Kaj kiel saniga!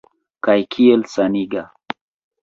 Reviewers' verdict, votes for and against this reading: accepted, 2, 0